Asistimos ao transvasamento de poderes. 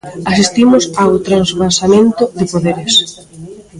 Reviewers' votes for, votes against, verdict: 1, 2, rejected